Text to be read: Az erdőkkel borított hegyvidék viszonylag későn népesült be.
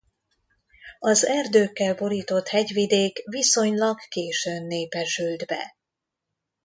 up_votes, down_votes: 1, 2